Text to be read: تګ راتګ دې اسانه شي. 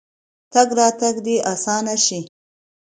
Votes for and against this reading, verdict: 2, 0, accepted